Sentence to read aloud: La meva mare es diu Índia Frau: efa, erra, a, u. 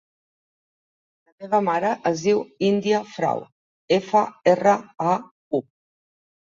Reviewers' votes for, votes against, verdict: 3, 1, accepted